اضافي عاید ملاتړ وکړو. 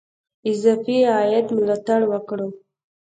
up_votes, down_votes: 2, 0